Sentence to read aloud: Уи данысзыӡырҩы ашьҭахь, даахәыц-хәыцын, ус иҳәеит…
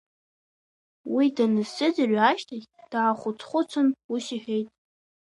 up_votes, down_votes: 2, 0